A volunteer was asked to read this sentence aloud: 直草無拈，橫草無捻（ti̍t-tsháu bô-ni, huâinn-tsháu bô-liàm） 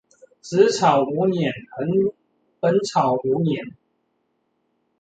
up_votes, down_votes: 1, 2